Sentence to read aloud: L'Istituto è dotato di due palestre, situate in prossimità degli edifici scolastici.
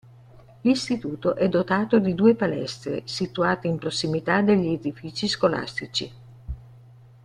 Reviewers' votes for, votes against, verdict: 1, 2, rejected